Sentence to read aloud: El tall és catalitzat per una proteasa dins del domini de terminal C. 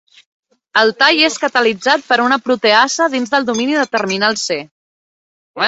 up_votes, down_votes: 1, 2